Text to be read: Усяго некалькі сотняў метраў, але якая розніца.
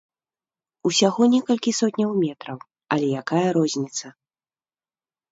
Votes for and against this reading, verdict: 2, 0, accepted